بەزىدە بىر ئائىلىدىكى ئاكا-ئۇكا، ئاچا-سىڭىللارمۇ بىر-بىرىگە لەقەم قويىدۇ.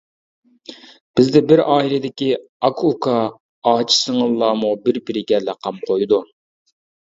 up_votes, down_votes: 1, 2